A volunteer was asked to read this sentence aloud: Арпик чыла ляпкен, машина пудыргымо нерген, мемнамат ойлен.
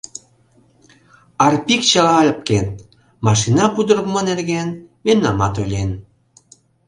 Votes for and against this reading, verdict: 1, 2, rejected